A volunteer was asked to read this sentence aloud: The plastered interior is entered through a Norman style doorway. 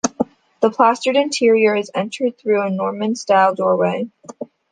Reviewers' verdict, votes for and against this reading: accepted, 2, 0